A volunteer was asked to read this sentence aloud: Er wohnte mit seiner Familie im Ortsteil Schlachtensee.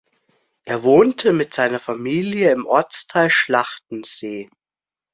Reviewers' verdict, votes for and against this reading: accepted, 2, 0